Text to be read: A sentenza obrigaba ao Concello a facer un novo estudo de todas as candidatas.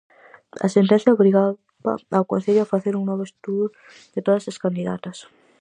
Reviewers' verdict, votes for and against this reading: rejected, 0, 4